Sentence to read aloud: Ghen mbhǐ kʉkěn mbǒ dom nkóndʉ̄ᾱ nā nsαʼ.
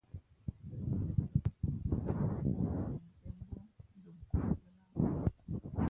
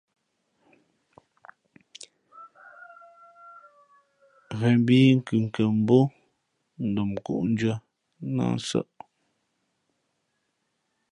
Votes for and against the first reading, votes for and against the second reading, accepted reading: 0, 2, 2, 1, second